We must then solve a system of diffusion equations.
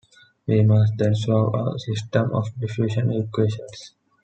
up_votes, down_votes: 2, 0